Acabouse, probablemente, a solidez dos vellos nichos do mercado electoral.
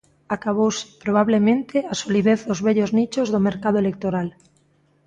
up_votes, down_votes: 2, 0